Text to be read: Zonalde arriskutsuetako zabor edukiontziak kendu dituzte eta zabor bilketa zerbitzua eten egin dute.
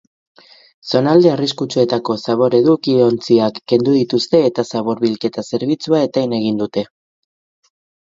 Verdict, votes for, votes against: accepted, 8, 0